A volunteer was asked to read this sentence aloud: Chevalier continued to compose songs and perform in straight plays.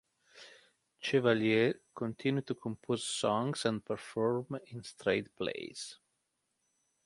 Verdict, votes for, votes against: accepted, 2, 0